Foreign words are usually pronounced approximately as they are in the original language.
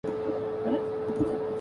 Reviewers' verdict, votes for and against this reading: rejected, 0, 2